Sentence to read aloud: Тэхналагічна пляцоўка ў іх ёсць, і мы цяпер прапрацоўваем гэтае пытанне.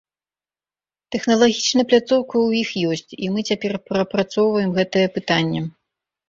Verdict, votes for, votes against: accepted, 4, 0